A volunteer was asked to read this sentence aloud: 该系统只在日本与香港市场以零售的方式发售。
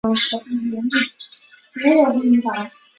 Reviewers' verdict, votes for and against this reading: rejected, 0, 4